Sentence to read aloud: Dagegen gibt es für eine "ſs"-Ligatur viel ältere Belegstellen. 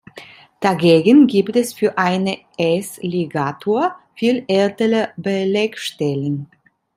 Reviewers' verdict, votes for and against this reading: rejected, 1, 2